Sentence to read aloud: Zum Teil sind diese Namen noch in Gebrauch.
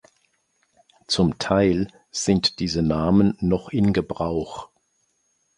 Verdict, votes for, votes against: accepted, 2, 0